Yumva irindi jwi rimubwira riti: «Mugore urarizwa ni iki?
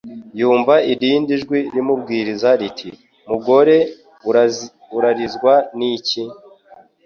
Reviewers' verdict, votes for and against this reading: rejected, 1, 2